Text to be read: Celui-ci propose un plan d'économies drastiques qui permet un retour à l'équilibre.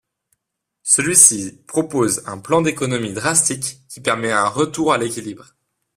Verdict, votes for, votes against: accepted, 2, 0